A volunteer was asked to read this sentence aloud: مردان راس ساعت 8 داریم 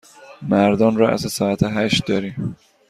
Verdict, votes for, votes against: rejected, 0, 2